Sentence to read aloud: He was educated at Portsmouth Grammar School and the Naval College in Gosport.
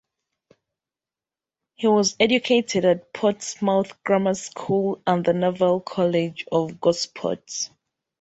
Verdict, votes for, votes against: accepted, 2, 1